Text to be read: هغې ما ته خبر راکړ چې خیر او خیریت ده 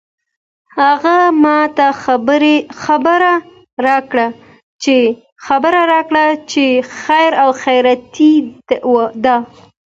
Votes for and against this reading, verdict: 2, 1, accepted